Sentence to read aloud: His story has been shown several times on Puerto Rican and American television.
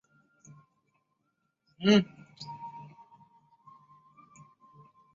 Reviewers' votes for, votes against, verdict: 0, 2, rejected